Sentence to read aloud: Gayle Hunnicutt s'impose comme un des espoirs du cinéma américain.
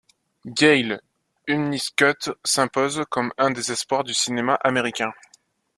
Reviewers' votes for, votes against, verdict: 1, 2, rejected